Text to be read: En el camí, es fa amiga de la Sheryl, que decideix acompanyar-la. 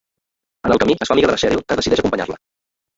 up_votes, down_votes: 0, 2